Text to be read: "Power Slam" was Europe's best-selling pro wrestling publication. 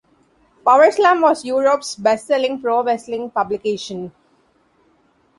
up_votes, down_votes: 2, 0